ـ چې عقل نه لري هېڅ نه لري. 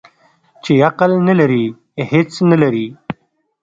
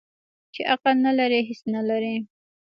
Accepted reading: first